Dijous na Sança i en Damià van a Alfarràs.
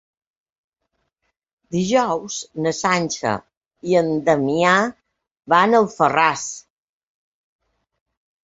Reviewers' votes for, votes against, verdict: 1, 2, rejected